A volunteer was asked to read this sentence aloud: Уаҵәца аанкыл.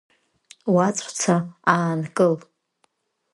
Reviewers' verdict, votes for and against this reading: accepted, 2, 0